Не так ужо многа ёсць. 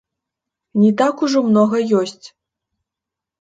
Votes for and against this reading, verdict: 0, 2, rejected